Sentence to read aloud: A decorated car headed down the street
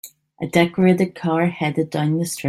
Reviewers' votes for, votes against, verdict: 0, 2, rejected